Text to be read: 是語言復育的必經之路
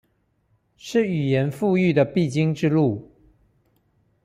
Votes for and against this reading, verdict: 2, 0, accepted